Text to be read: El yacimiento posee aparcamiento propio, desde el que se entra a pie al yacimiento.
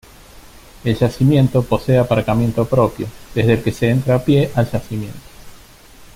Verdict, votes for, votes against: accepted, 2, 0